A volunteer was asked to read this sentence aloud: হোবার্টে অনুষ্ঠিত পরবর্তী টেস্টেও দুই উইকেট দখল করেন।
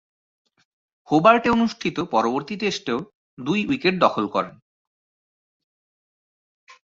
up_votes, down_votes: 2, 2